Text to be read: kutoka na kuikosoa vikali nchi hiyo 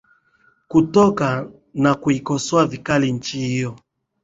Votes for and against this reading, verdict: 2, 0, accepted